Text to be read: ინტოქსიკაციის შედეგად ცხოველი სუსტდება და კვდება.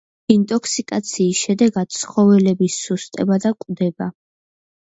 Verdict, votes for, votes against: rejected, 0, 2